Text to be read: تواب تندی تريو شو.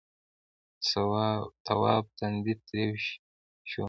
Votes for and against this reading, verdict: 1, 2, rejected